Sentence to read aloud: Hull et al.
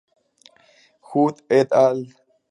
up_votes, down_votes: 2, 0